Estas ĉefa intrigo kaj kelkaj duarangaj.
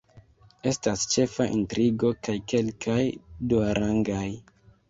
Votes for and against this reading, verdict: 2, 1, accepted